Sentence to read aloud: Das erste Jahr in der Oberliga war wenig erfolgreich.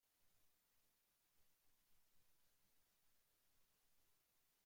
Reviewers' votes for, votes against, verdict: 0, 2, rejected